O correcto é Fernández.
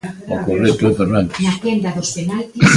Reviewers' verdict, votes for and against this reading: rejected, 0, 3